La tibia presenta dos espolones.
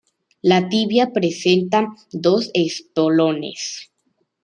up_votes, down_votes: 2, 0